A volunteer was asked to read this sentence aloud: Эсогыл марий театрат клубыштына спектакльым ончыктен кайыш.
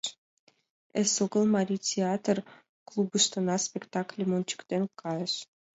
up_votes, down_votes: 1, 2